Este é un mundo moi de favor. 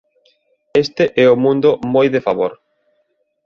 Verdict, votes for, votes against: rejected, 0, 2